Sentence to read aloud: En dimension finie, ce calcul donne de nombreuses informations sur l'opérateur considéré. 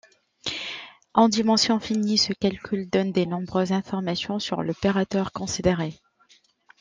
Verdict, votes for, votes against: rejected, 1, 2